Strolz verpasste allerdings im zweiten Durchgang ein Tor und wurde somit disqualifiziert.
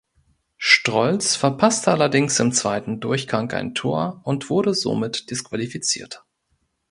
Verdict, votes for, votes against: rejected, 1, 2